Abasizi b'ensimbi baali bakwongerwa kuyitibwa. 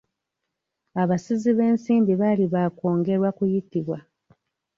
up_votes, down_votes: 2, 0